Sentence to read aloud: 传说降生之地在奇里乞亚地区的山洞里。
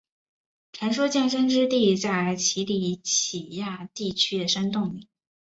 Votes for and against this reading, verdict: 2, 0, accepted